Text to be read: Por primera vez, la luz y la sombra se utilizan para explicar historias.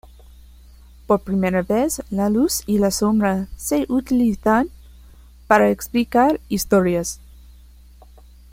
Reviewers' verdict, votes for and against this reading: accepted, 2, 0